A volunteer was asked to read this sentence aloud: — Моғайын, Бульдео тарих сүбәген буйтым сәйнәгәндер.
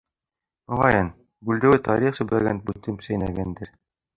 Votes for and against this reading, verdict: 0, 2, rejected